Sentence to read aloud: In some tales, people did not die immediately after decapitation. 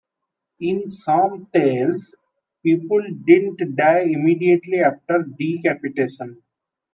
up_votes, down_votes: 0, 2